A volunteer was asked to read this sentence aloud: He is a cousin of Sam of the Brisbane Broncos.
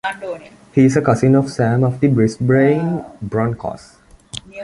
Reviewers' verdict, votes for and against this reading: accepted, 2, 1